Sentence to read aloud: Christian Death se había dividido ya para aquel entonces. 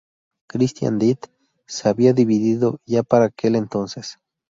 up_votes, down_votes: 2, 0